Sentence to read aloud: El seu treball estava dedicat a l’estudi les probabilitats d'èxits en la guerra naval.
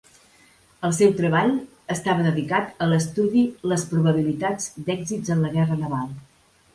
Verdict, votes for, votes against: accepted, 2, 0